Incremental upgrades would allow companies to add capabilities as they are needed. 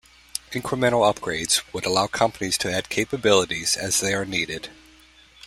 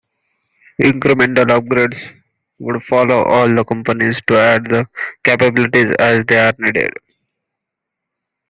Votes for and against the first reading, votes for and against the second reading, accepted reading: 2, 0, 1, 3, first